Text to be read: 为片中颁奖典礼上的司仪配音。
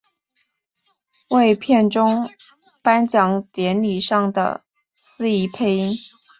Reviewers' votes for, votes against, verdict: 2, 0, accepted